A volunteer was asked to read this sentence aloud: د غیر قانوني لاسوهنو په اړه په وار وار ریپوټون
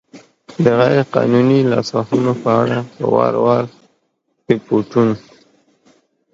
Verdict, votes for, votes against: accepted, 2, 0